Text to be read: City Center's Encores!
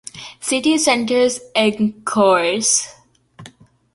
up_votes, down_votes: 2, 0